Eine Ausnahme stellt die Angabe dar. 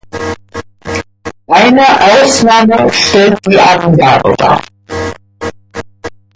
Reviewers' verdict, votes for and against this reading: accepted, 2, 1